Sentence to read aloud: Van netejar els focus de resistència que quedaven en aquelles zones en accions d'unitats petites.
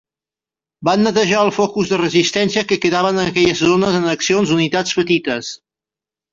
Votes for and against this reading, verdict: 2, 1, accepted